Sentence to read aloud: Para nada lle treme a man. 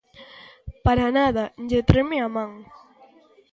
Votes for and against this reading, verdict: 2, 0, accepted